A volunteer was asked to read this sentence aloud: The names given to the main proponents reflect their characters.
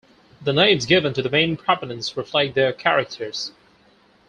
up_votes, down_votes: 2, 4